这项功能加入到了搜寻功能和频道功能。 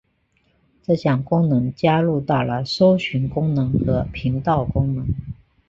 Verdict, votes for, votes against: accepted, 2, 0